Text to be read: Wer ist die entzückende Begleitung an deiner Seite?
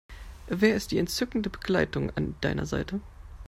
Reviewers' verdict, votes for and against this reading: accepted, 2, 0